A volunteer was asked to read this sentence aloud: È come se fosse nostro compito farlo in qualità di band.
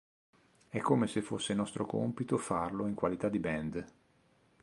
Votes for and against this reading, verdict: 2, 0, accepted